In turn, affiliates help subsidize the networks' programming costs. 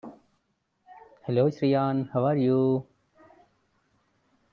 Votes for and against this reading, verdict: 0, 2, rejected